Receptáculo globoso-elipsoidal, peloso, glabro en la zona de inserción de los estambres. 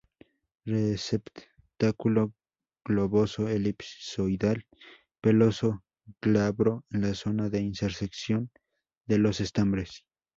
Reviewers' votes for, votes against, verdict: 2, 2, rejected